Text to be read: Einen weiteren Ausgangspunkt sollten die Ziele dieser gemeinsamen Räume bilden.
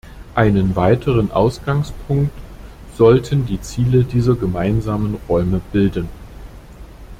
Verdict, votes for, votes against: accepted, 2, 0